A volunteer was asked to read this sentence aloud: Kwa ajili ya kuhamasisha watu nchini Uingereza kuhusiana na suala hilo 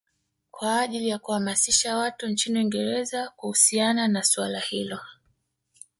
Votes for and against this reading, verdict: 2, 0, accepted